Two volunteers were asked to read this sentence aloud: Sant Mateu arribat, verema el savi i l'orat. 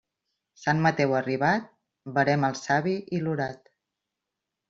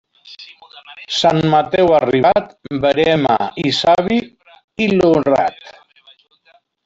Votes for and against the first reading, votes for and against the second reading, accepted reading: 2, 0, 1, 2, first